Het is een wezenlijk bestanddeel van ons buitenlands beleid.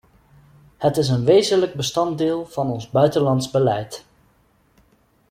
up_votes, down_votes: 2, 0